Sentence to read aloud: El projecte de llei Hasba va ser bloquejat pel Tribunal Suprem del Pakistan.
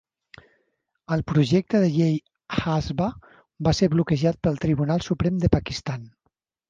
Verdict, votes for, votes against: accepted, 2, 1